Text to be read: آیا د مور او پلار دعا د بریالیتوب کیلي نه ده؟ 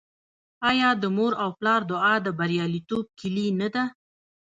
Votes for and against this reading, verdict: 1, 2, rejected